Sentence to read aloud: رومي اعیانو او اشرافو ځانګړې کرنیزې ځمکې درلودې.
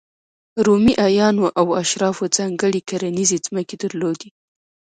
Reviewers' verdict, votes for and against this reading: accepted, 2, 0